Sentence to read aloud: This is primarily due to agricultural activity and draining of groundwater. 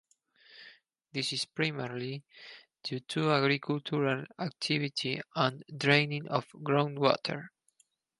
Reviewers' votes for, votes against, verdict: 4, 2, accepted